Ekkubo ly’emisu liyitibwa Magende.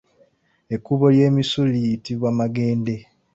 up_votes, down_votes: 2, 1